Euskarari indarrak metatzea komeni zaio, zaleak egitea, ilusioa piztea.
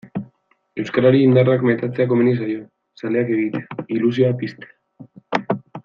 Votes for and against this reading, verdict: 2, 1, accepted